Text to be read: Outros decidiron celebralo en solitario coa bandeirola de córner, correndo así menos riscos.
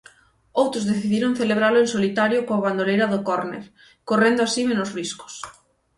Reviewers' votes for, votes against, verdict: 0, 6, rejected